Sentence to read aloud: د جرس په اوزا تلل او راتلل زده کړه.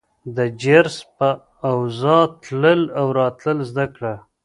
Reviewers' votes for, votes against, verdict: 0, 2, rejected